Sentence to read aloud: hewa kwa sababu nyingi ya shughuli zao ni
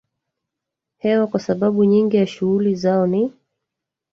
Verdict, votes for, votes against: rejected, 1, 2